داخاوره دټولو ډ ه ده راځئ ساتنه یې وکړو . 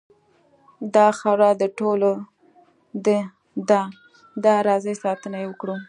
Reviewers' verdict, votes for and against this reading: rejected, 1, 2